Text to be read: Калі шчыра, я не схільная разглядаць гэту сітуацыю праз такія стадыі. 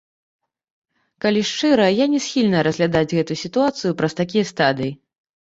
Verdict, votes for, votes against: accepted, 2, 1